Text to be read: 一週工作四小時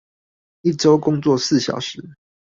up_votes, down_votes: 4, 0